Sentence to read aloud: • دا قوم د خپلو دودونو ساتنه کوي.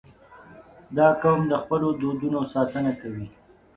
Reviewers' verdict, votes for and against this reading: accepted, 5, 0